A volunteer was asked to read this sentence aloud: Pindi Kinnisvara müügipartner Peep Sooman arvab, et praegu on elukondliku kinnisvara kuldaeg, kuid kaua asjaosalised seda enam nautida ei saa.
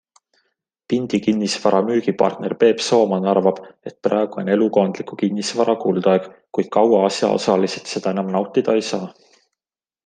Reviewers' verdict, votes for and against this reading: accepted, 2, 0